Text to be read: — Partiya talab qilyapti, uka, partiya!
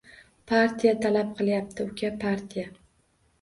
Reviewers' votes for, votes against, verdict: 2, 0, accepted